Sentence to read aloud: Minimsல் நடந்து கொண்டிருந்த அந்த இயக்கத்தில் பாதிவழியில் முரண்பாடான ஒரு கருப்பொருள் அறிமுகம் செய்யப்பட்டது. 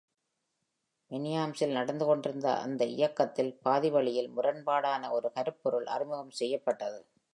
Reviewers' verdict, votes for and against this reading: accepted, 2, 0